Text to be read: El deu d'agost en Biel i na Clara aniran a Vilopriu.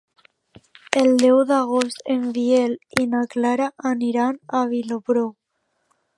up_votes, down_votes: 0, 2